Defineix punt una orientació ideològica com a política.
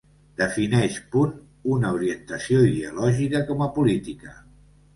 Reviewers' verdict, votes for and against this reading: accepted, 2, 0